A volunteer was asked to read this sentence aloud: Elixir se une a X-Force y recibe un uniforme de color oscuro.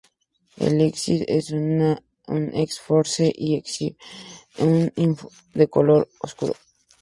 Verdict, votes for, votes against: rejected, 0, 4